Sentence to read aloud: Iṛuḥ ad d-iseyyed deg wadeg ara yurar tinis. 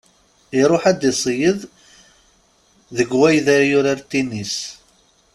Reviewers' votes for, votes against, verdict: 1, 2, rejected